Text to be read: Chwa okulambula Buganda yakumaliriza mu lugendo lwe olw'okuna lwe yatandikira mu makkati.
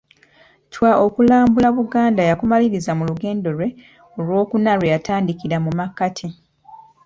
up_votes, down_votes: 2, 0